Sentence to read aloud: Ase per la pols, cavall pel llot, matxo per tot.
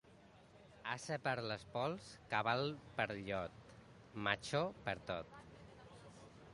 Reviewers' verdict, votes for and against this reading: rejected, 0, 2